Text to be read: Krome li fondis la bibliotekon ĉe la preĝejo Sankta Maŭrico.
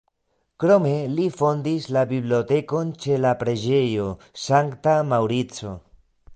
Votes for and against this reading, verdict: 2, 1, accepted